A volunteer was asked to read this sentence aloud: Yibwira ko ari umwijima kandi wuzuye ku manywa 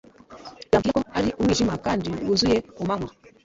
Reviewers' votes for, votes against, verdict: 0, 2, rejected